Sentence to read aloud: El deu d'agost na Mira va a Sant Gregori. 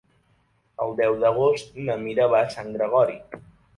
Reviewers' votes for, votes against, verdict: 4, 1, accepted